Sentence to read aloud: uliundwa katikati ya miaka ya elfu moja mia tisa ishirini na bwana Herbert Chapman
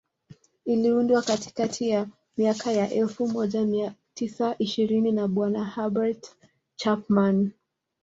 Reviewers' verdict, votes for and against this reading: rejected, 0, 2